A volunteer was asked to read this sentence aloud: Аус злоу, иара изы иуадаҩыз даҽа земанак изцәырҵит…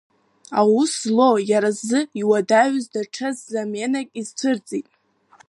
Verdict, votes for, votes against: accepted, 3, 1